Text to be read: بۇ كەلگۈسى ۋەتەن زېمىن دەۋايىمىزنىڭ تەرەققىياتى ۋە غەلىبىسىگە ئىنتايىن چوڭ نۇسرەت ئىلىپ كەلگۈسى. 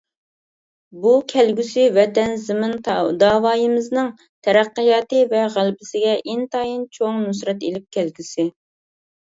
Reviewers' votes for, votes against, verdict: 0, 2, rejected